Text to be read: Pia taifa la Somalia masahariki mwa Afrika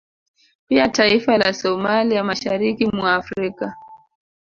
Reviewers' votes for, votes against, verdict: 2, 0, accepted